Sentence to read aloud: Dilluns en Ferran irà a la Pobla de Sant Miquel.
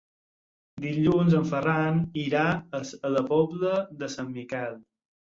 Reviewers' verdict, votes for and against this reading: rejected, 0, 4